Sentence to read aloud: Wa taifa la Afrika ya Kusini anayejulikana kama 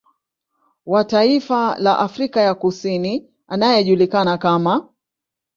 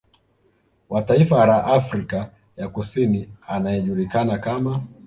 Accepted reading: first